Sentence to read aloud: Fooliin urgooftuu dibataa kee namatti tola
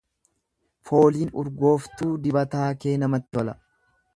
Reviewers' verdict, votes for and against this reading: rejected, 1, 2